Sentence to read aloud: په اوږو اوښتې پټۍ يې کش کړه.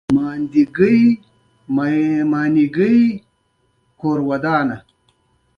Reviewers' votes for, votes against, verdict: 1, 2, rejected